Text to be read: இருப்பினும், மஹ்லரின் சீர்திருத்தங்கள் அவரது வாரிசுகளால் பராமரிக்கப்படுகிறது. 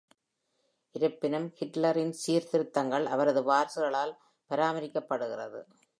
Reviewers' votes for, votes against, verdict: 0, 2, rejected